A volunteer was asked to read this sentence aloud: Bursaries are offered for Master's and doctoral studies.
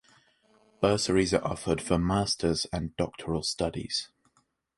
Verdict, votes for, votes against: accepted, 3, 0